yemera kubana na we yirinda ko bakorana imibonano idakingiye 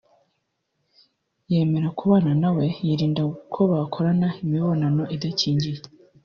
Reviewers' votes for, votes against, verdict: 1, 2, rejected